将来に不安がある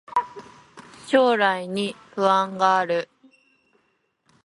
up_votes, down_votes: 3, 2